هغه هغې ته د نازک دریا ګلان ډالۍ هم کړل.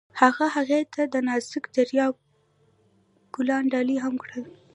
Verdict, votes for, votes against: accepted, 2, 0